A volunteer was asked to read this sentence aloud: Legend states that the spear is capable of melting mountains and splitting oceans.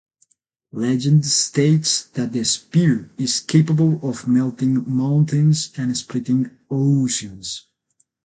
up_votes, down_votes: 8, 0